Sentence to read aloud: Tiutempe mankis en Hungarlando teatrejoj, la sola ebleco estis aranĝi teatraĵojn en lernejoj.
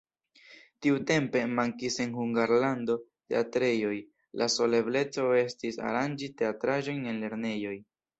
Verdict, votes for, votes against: accepted, 2, 0